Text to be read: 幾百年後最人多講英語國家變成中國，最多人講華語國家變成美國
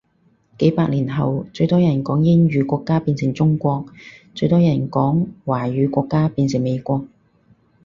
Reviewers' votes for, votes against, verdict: 4, 0, accepted